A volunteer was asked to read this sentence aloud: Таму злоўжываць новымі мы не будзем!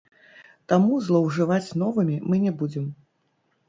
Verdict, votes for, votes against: rejected, 1, 2